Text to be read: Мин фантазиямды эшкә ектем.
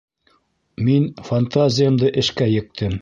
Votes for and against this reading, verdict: 2, 0, accepted